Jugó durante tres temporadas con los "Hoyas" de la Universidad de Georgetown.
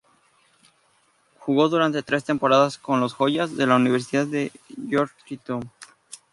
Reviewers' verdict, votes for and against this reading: accepted, 2, 0